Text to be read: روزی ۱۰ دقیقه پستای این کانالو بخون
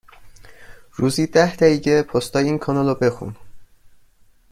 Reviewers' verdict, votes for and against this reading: rejected, 0, 2